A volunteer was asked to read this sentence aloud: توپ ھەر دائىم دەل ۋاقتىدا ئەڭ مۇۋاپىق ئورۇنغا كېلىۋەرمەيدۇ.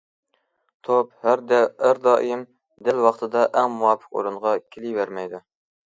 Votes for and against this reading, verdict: 0, 2, rejected